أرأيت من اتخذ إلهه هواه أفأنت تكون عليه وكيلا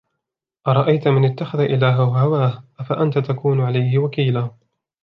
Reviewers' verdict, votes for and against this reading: accepted, 2, 0